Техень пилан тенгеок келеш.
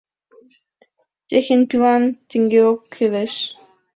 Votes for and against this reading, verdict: 2, 0, accepted